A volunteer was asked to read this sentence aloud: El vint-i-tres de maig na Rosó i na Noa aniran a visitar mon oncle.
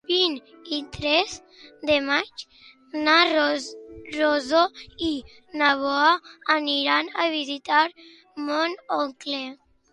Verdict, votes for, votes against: rejected, 0, 2